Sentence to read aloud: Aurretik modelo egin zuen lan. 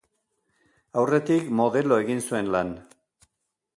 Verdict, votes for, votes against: accepted, 2, 1